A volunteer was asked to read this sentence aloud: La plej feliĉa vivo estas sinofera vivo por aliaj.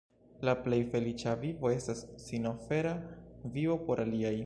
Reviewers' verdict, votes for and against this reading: rejected, 0, 2